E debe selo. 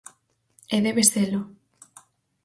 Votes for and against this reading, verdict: 4, 0, accepted